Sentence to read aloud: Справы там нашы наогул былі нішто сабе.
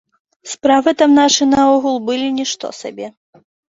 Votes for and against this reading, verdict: 2, 0, accepted